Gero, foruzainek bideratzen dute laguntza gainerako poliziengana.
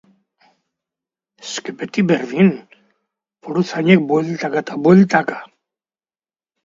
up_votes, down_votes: 0, 3